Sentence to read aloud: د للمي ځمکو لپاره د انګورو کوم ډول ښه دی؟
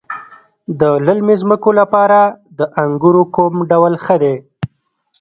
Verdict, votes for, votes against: rejected, 1, 2